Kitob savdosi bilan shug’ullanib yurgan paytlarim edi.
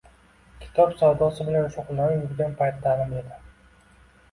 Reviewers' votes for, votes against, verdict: 2, 0, accepted